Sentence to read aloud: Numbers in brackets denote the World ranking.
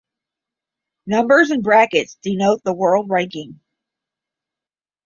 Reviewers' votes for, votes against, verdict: 10, 0, accepted